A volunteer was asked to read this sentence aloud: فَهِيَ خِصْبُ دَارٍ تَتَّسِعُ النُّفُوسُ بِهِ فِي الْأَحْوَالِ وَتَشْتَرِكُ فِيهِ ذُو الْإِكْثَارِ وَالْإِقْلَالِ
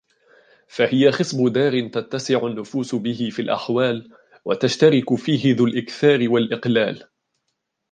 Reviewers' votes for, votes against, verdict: 1, 2, rejected